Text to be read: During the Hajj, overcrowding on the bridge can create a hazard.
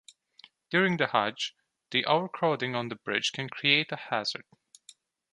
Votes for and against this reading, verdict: 1, 2, rejected